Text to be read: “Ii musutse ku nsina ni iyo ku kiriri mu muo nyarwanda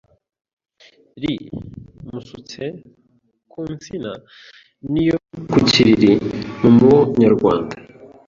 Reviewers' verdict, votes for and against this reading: rejected, 0, 2